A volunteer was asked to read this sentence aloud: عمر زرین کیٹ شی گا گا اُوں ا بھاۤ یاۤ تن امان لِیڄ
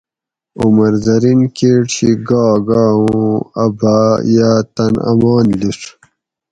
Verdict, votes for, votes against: accepted, 4, 0